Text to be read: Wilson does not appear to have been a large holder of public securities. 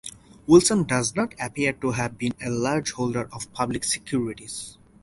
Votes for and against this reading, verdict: 4, 0, accepted